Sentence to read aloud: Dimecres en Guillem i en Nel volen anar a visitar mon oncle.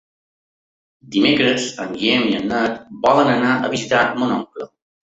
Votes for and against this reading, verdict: 0, 2, rejected